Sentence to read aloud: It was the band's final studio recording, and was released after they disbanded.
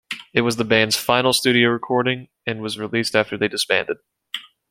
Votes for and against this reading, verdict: 2, 0, accepted